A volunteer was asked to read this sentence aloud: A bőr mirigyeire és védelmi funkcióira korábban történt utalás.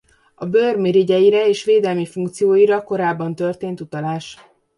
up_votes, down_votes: 2, 0